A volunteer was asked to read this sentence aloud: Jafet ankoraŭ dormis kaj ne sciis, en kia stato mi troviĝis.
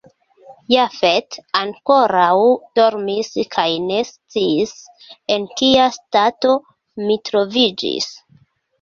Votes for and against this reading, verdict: 2, 0, accepted